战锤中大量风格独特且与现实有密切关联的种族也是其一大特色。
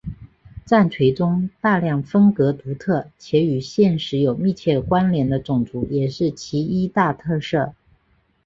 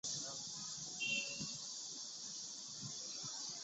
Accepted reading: first